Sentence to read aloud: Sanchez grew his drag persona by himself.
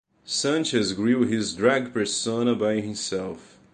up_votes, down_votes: 2, 0